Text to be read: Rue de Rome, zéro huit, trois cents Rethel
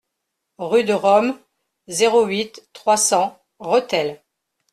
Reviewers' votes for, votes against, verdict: 2, 0, accepted